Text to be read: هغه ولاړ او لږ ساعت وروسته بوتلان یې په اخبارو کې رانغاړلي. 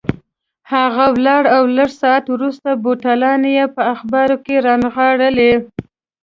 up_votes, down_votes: 2, 0